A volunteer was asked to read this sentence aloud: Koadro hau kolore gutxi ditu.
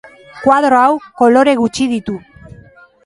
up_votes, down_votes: 2, 1